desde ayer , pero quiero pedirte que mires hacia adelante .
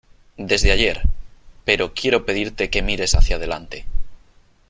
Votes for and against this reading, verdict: 3, 0, accepted